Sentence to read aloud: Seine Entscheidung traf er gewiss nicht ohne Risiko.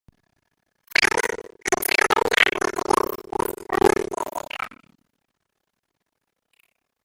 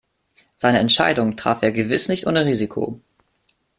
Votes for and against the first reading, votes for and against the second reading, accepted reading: 0, 2, 2, 0, second